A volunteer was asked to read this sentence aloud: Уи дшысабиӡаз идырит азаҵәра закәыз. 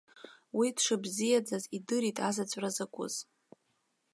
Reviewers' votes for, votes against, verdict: 0, 2, rejected